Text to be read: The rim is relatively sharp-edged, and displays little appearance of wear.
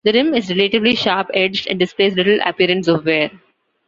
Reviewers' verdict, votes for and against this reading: accepted, 2, 0